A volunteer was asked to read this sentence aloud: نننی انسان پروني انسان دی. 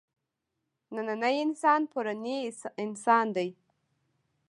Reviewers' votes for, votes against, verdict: 2, 0, accepted